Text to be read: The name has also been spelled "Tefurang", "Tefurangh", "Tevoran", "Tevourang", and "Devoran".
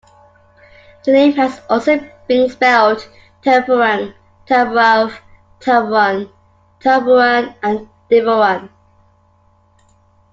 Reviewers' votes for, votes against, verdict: 2, 1, accepted